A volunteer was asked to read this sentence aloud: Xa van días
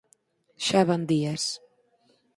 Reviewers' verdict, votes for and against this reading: accepted, 4, 0